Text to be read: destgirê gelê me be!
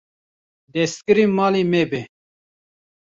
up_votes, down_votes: 0, 2